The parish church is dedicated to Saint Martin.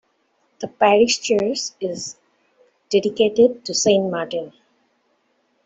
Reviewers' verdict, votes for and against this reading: accepted, 2, 1